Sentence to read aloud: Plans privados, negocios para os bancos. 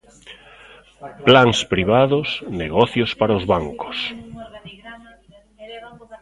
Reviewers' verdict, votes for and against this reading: rejected, 0, 2